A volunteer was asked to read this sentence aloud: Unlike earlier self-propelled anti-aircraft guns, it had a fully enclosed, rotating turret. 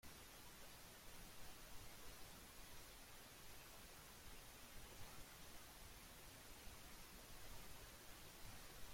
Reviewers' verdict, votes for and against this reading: rejected, 0, 2